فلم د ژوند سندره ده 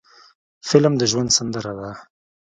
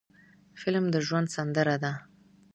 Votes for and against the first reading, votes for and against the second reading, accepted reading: 1, 2, 2, 0, second